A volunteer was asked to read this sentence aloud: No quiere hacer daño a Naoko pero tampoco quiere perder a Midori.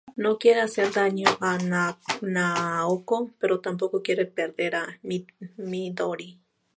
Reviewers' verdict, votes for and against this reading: rejected, 2, 2